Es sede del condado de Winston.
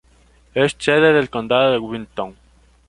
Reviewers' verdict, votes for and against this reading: rejected, 0, 2